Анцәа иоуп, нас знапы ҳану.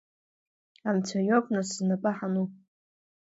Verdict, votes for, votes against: accepted, 2, 0